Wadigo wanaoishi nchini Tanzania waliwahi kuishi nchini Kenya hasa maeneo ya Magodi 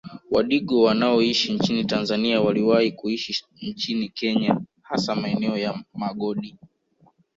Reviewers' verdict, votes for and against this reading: accepted, 3, 1